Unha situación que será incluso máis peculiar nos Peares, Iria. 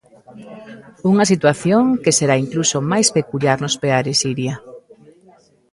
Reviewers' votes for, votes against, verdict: 2, 1, accepted